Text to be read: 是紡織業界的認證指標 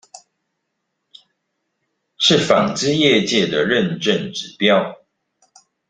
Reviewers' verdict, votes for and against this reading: accepted, 2, 0